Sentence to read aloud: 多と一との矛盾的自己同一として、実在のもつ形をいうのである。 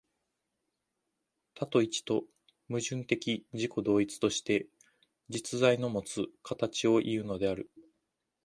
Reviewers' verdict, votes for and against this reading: rejected, 1, 2